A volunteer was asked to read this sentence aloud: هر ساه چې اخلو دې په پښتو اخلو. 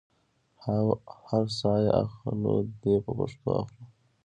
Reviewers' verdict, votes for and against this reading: rejected, 1, 2